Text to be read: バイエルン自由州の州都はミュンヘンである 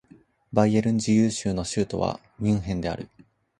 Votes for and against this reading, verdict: 2, 0, accepted